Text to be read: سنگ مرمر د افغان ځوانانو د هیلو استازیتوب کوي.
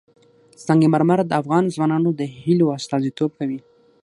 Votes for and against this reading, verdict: 3, 6, rejected